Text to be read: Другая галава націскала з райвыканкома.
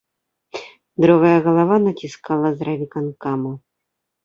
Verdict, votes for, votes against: accepted, 3, 1